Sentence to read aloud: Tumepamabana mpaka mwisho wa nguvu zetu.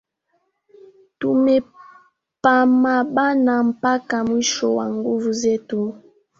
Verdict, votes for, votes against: rejected, 0, 2